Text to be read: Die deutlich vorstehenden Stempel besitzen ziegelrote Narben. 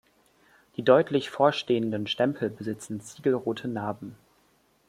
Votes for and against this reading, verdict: 2, 0, accepted